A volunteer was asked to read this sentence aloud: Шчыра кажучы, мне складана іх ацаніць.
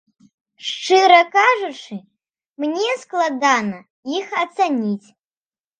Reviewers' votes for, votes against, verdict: 2, 0, accepted